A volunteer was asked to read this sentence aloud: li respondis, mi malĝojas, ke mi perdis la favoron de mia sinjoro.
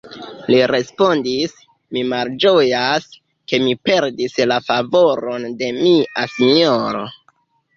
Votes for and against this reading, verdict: 2, 1, accepted